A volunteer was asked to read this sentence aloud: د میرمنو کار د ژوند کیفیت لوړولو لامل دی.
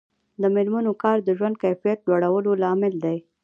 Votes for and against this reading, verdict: 2, 0, accepted